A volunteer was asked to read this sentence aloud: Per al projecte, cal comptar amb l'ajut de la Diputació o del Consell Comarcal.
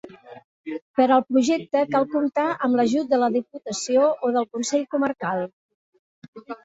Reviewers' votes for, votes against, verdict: 0, 2, rejected